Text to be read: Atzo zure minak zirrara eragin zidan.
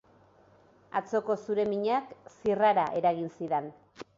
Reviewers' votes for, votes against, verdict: 0, 2, rejected